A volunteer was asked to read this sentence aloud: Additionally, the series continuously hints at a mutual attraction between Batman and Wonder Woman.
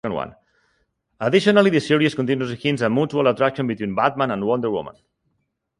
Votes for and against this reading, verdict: 2, 1, accepted